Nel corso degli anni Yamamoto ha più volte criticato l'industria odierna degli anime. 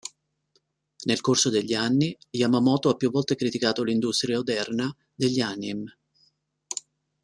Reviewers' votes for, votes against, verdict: 0, 2, rejected